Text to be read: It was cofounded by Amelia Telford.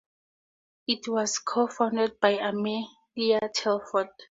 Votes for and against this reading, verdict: 2, 0, accepted